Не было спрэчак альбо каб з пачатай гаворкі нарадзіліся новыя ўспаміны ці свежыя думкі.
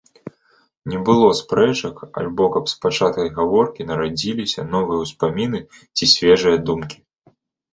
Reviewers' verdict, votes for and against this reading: accepted, 2, 0